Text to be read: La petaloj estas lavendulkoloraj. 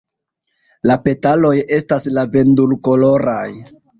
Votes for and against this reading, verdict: 2, 0, accepted